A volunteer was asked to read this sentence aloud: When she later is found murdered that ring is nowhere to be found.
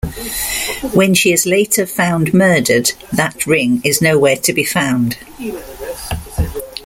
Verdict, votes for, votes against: rejected, 1, 2